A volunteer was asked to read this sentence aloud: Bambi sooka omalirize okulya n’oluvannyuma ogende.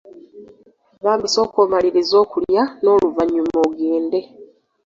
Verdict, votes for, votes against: accepted, 2, 0